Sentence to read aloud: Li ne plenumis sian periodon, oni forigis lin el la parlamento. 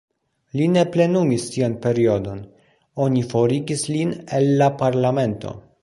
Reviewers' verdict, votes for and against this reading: accepted, 2, 1